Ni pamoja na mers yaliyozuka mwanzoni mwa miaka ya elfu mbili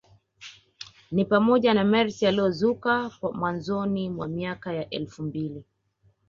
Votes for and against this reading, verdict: 1, 2, rejected